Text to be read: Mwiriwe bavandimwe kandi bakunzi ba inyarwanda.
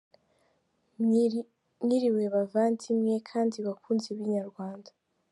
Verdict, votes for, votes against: rejected, 0, 2